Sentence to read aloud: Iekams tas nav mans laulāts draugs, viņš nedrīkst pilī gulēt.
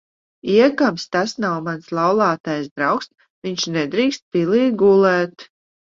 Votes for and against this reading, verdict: 5, 6, rejected